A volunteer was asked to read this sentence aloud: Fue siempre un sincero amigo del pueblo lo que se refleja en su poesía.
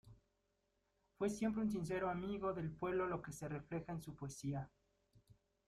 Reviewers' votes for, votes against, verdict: 2, 1, accepted